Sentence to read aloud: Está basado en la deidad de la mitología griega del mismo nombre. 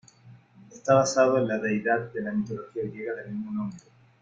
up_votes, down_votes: 2, 0